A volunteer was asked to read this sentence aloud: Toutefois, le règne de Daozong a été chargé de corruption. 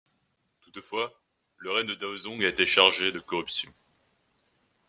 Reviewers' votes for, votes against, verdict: 1, 2, rejected